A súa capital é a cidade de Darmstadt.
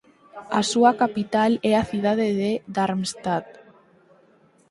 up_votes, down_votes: 4, 0